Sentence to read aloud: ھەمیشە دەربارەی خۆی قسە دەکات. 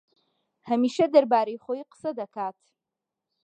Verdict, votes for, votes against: accepted, 2, 0